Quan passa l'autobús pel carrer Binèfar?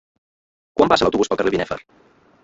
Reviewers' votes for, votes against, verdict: 0, 2, rejected